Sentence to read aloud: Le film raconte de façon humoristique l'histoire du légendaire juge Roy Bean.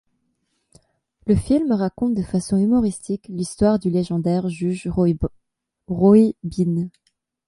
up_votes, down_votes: 1, 2